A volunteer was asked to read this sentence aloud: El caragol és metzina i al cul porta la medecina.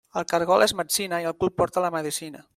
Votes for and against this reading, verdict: 3, 0, accepted